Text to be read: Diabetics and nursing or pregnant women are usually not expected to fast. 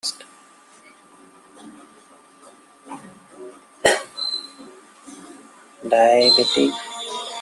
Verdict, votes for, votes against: rejected, 0, 2